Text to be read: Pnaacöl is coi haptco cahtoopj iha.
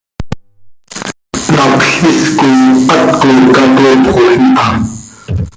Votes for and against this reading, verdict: 0, 2, rejected